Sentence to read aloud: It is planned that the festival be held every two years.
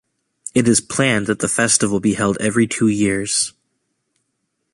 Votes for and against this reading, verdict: 2, 0, accepted